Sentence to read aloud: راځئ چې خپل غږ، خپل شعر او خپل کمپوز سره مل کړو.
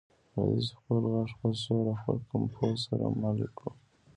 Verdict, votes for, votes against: rejected, 1, 2